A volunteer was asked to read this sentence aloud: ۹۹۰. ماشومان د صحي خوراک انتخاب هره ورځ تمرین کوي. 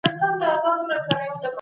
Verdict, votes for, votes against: rejected, 0, 2